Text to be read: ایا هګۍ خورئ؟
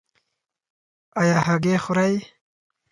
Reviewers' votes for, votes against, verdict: 4, 0, accepted